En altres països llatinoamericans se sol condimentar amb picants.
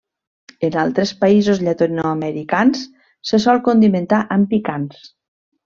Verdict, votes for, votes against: rejected, 0, 2